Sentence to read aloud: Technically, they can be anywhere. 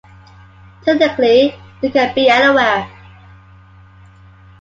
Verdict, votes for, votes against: accepted, 2, 0